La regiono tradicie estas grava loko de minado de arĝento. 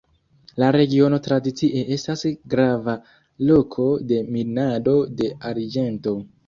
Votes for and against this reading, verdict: 2, 1, accepted